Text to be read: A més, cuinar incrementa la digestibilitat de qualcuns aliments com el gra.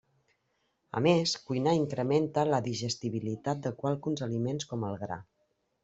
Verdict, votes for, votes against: accepted, 2, 0